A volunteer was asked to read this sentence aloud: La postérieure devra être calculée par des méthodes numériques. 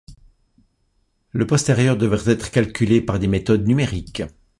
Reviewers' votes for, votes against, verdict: 0, 2, rejected